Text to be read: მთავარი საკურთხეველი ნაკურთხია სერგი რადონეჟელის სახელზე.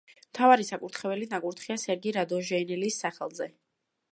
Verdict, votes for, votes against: rejected, 1, 2